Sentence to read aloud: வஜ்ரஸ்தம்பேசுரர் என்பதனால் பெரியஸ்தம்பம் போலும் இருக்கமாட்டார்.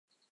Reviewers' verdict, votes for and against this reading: rejected, 1, 2